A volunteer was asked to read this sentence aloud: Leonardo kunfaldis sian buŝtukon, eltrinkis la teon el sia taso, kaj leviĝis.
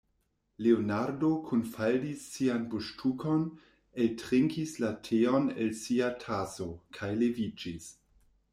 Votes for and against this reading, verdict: 2, 1, accepted